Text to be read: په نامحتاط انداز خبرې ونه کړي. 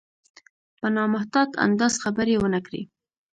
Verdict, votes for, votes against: accepted, 2, 1